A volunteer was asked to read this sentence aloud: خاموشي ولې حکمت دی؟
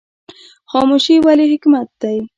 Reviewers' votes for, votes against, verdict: 1, 2, rejected